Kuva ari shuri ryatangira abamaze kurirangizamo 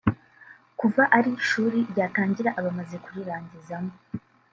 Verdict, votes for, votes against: rejected, 1, 2